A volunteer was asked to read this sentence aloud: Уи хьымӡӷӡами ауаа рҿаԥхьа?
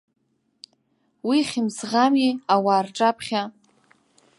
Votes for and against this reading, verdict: 1, 2, rejected